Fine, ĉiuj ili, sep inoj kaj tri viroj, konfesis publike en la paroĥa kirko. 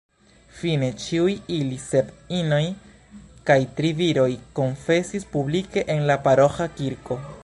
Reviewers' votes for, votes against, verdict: 2, 1, accepted